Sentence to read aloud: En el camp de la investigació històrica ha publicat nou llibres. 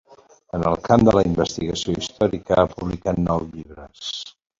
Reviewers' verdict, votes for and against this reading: accepted, 2, 0